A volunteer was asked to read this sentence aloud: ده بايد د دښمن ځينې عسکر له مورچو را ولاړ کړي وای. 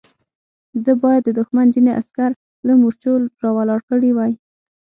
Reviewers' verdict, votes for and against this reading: accepted, 6, 0